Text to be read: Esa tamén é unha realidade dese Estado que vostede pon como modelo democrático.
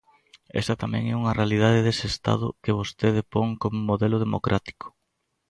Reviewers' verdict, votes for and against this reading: accepted, 2, 0